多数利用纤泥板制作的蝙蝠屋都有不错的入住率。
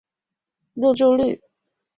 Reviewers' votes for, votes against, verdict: 1, 2, rejected